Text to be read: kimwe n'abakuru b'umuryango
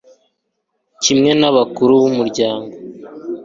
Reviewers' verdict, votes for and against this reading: accepted, 2, 0